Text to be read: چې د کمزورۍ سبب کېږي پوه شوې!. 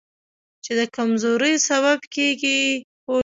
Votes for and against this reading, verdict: 0, 2, rejected